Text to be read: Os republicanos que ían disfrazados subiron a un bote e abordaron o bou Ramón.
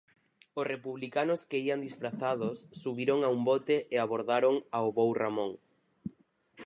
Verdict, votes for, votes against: rejected, 0, 4